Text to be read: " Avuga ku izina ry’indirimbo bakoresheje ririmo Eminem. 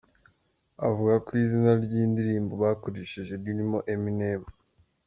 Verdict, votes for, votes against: accepted, 2, 0